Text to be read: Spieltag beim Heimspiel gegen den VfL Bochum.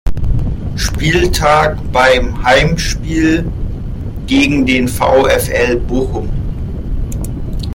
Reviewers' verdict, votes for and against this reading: accepted, 2, 0